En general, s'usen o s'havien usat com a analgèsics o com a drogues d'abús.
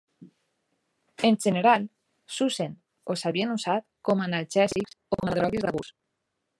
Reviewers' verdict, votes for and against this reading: rejected, 1, 2